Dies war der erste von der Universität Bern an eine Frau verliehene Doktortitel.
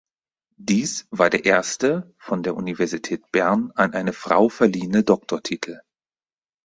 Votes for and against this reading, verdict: 4, 0, accepted